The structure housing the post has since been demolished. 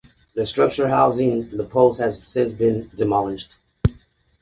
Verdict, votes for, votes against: accepted, 2, 0